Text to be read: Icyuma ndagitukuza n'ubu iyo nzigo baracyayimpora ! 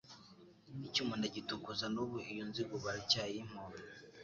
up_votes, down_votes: 0, 2